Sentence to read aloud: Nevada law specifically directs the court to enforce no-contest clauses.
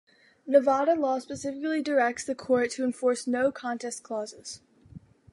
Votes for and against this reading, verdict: 2, 0, accepted